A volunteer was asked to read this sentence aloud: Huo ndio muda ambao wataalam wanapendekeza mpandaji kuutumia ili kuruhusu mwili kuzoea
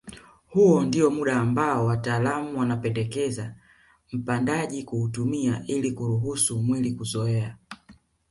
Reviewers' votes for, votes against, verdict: 0, 2, rejected